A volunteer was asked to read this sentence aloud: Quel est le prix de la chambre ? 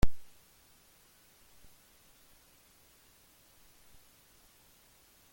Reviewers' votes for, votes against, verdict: 0, 2, rejected